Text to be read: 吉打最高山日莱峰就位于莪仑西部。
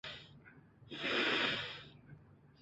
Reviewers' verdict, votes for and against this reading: rejected, 1, 4